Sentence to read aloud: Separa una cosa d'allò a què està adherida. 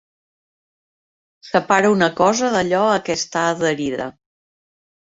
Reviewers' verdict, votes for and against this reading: accepted, 3, 0